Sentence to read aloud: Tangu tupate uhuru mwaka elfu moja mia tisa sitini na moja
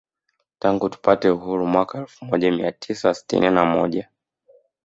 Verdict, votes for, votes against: rejected, 1, 2